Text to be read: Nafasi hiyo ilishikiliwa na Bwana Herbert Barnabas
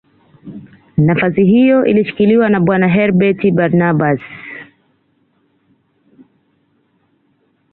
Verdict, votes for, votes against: accepted, 2, 0